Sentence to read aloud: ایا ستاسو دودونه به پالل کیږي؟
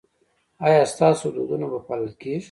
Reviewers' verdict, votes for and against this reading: rejected, 1, 2